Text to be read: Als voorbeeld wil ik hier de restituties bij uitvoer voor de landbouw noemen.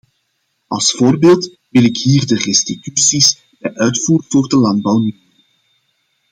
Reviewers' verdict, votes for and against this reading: rejected, 0, 2